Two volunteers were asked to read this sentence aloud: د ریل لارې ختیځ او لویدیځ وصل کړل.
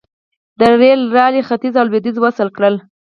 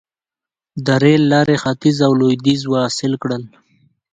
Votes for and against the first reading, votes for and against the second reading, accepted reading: 2, 4, 2, 0, second